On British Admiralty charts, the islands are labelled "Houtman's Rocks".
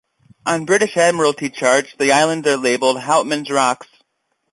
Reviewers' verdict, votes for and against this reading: accepted, 2, 0